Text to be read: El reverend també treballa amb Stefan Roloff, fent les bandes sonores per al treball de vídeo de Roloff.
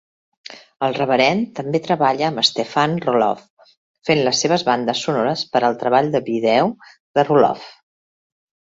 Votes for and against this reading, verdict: 0, 2, rejected